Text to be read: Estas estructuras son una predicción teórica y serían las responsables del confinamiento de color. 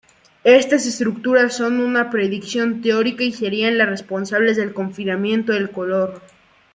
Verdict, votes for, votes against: rejected, 0, 2